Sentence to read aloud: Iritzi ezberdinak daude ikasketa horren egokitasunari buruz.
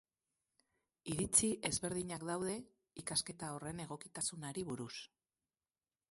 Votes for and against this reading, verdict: 2, 2, rejected